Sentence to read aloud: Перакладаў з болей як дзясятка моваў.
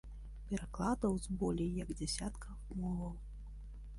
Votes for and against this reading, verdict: 0, 2, rejected